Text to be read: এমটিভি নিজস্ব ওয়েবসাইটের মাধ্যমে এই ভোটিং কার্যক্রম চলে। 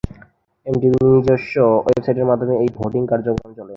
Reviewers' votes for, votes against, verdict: 0, 2, rejected